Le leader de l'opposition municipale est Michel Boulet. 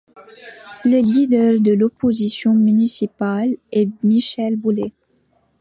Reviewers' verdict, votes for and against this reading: accepted, 2, 0